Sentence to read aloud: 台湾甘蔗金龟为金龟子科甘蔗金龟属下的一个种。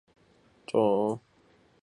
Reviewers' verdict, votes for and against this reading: rejected, 0, 2